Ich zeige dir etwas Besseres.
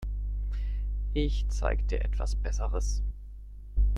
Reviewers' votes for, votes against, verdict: 0, 2, rejected